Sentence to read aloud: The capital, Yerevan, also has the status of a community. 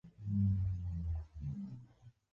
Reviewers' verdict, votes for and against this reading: rejected, 0, 2